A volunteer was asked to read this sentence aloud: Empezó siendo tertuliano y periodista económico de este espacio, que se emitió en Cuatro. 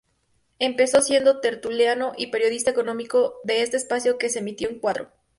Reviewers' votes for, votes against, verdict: 2, 0, accepted